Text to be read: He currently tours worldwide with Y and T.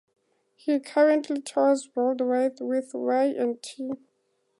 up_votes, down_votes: 4, 0